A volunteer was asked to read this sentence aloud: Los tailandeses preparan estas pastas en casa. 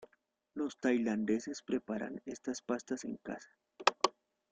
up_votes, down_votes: 2, 0